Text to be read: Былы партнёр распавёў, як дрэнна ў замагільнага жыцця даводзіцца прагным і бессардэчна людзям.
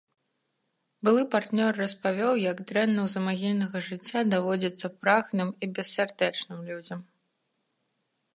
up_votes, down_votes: 2, 0